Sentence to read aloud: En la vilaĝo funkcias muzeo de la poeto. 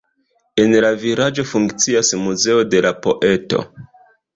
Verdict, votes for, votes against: rejected, 1, 2